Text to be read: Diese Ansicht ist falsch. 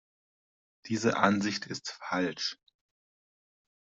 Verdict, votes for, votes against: accepted, 2, 0